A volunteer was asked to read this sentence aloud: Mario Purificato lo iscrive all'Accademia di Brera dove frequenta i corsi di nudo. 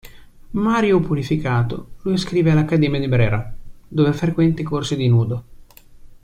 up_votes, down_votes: 2, 1